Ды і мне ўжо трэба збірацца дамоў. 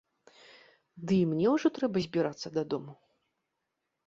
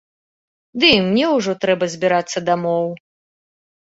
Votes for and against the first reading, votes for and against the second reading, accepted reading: 0, 2, 3, 0, second